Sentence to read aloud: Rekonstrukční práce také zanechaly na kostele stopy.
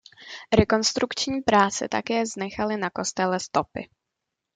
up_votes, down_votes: 1, 2